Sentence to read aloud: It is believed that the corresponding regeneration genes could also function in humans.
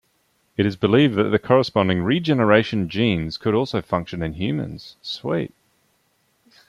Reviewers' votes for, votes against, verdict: 0, 2, rejected